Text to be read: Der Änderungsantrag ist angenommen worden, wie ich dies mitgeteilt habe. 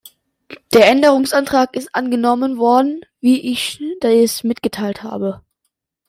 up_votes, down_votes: 1, 2